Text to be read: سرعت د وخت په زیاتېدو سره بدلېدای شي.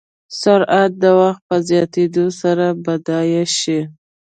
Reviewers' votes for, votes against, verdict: 1, 2, rejected